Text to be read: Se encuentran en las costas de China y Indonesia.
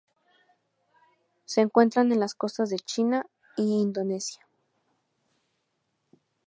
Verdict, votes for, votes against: accepted, 4, 0